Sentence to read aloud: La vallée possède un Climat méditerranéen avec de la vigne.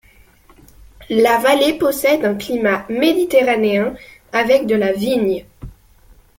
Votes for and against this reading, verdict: 2, 0, accepted